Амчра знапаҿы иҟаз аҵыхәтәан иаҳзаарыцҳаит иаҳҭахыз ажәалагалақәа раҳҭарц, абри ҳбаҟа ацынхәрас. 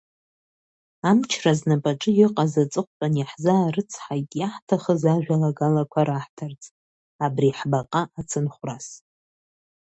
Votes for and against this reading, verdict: 2, 1, accepted